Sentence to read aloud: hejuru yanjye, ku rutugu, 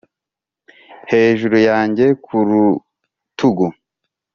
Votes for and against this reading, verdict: 4, 0, accepted